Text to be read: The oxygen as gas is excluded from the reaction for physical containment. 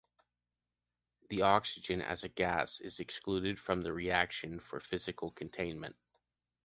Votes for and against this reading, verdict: 0, 2, rejected